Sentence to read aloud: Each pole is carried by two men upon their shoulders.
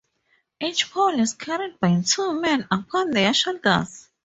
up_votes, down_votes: 2, 4